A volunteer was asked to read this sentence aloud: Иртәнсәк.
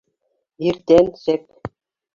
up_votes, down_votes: 1, 2